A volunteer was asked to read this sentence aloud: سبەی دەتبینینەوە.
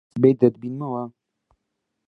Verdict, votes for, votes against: rejected, 0, 2